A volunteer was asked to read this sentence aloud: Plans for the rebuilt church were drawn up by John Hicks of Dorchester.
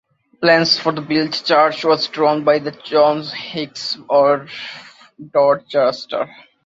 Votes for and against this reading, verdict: 2, 0, accepted